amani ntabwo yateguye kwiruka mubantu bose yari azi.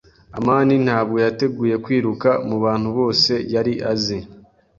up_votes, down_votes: 2, 0